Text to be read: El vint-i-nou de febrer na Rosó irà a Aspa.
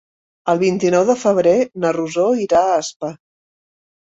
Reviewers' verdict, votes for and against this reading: accepted, 3, 0